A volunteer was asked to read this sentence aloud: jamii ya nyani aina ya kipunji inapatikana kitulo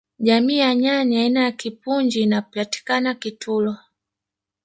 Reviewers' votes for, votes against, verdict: 1, 2, rejected